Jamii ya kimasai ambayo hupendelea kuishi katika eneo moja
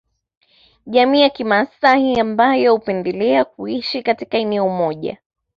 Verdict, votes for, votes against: accepted, 2, 0